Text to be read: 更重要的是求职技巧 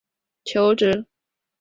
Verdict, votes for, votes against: rejected, 0, 2